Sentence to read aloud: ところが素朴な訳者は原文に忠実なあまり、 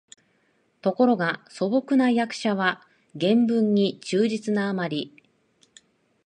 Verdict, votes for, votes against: accepted, 2, 0